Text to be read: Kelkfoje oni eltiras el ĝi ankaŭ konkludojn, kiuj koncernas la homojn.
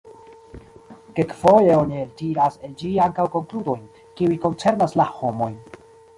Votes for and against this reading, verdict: 1, 2, rejected